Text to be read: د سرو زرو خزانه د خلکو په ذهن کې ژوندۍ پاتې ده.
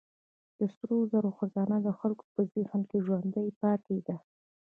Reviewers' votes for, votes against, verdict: 0, 2, rejected